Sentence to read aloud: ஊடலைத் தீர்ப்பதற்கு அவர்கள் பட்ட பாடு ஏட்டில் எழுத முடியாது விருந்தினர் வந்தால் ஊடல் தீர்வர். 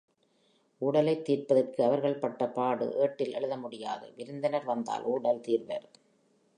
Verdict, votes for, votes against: accepted, 2, 0